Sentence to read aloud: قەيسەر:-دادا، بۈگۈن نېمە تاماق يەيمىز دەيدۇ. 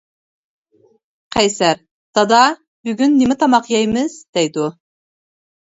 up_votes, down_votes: 2, 0